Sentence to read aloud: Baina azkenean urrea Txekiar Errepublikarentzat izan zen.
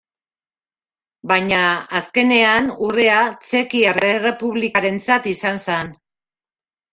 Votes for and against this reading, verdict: 0, 2, rejected